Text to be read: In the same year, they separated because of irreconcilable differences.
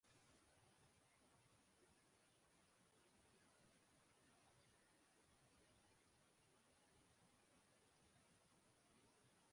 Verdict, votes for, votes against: rejected, 0, 2